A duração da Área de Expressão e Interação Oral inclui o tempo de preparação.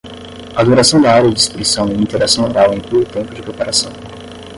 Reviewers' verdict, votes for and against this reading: rejected, 5, 10